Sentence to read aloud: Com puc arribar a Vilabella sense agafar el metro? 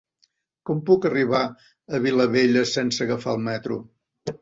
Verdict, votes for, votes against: accepted, 2, 0